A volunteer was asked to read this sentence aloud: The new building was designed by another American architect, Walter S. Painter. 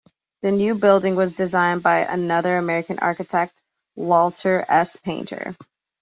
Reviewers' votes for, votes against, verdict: 2, 0, accepted